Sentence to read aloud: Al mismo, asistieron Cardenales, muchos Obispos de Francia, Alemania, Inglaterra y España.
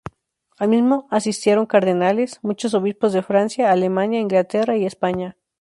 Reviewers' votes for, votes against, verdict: 2, 0, accepted